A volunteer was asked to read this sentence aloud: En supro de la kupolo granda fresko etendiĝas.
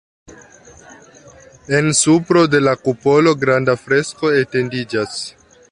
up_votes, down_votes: 3, 2